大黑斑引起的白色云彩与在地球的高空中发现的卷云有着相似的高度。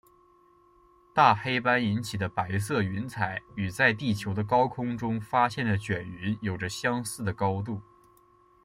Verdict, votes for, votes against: accepted, 2, 1